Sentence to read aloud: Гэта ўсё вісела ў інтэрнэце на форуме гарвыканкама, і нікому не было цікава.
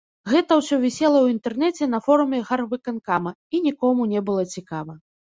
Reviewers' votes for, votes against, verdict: 0, 3, rejected